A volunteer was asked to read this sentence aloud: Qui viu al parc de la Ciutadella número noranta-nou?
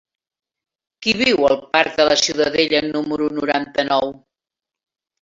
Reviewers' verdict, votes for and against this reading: accepted, 4, 0